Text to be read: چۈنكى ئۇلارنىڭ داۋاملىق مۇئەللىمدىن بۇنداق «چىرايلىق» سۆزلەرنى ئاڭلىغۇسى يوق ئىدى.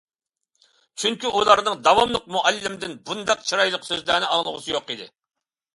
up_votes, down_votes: 2, 0